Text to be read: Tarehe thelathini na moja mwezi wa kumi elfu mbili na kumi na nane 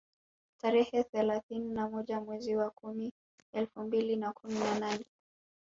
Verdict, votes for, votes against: accepted, 2, 1